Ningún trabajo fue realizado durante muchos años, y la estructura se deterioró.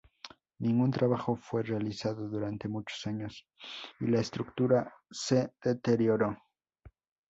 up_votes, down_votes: 2, 0